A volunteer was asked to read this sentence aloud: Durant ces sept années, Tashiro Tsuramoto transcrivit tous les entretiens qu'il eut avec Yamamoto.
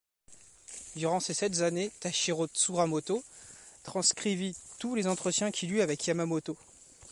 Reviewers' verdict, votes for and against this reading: accepted, 3, 0